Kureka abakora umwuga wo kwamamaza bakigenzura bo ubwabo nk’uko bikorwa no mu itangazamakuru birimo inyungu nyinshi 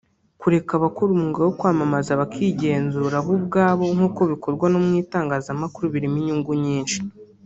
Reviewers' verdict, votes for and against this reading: rejected, 0, 2